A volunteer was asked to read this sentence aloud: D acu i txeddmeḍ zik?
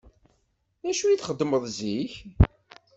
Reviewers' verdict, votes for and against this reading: accepted, 2, 0